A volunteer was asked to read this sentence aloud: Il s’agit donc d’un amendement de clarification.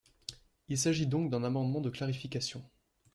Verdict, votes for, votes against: accepted, 2, 0